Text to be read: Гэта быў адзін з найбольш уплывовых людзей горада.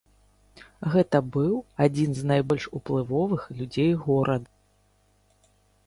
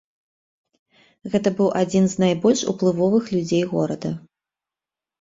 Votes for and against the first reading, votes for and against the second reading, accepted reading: 1, 2, 2, 0, second